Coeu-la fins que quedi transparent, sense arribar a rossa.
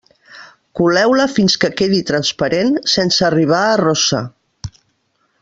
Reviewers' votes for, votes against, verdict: 1, 3, rejected